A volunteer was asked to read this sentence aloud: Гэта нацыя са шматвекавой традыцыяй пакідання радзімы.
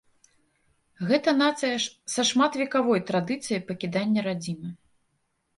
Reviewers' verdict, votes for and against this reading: rejected, 1, 2